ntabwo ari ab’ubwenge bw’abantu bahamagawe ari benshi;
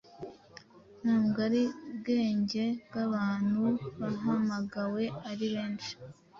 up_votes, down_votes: 2, 0